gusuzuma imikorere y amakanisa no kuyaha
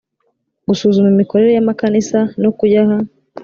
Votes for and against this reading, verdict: 2, 0, accepted